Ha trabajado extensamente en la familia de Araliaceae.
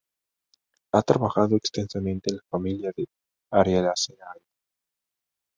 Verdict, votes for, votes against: rejected, 0, 2